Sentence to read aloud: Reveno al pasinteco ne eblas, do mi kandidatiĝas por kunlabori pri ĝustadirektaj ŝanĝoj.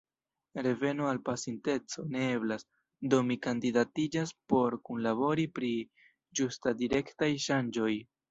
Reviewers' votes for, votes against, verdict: 0, 2, rejected